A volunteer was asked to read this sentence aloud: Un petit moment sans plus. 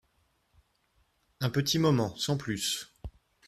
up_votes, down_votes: 1, 2